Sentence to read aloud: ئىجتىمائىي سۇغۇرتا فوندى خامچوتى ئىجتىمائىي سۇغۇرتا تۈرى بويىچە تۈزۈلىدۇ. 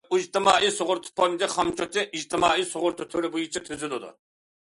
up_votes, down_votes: 2, 0